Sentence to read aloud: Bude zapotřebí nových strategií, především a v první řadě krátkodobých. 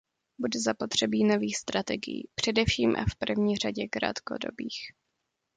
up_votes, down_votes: 2, 0